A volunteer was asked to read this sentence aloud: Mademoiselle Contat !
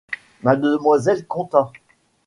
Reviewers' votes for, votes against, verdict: 2, 0, accepted